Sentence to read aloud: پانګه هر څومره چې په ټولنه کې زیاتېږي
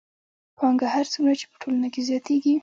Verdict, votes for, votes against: accepted, 2, 0